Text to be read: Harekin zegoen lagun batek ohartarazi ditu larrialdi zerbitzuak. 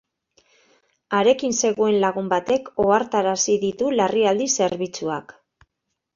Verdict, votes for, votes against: accepted, 2, 0